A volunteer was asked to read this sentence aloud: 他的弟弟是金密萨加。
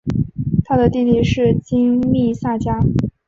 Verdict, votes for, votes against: accepted, 3, 0